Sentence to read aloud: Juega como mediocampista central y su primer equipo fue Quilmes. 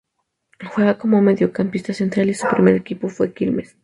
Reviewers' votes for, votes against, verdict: 2, 0, accepted